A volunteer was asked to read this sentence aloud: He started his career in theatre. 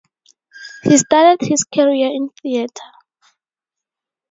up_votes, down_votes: 0, 2